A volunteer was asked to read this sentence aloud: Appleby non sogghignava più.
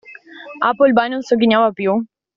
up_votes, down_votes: 2, 0